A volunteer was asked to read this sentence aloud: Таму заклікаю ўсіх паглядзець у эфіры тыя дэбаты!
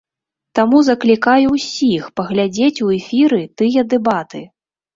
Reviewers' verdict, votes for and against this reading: accepted, 2, 0